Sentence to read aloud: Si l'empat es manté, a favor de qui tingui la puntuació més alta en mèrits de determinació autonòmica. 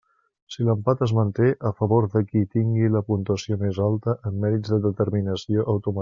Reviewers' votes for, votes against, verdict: 0, 2, rejected